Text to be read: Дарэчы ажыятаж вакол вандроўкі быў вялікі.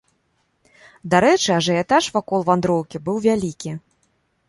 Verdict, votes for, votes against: accepted, 2, 0